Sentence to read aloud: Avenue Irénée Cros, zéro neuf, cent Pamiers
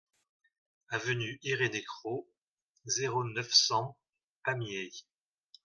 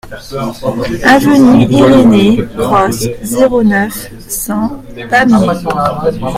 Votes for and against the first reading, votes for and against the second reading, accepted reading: 2, 0, 0, 2, first